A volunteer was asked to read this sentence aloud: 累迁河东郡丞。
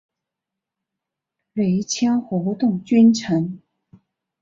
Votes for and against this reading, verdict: 1, 3, rejected